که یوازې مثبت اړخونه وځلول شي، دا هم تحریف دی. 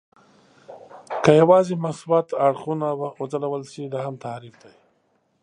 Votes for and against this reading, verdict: 0, 2, rejected